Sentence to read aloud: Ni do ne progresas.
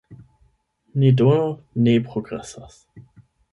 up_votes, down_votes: 8, 0